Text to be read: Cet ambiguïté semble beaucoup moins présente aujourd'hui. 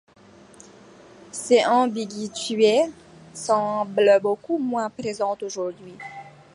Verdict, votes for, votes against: rejected, 1, 2